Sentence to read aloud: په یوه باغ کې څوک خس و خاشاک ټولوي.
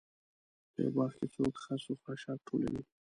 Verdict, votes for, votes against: rejected, 0, 2